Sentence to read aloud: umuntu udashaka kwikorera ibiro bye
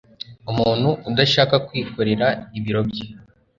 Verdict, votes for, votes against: accepted, 2, 0